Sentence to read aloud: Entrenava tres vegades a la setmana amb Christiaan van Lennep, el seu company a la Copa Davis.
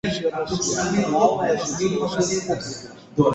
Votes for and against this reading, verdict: 0, 2, rejected